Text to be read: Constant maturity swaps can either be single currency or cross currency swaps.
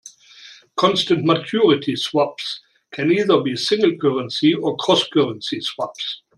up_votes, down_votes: 2, 0